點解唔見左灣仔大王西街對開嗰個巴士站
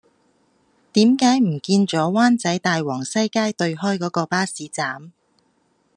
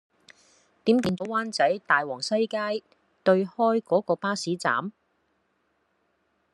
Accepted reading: first